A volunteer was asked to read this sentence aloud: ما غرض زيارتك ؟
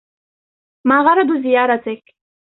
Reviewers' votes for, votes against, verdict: 1, 2, rejected